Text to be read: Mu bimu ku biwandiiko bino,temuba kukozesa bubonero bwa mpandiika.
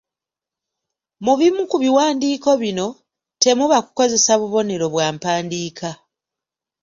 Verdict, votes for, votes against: accepted, 2, 0